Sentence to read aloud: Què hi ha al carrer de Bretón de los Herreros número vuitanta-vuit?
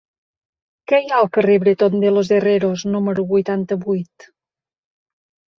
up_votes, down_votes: 1, 2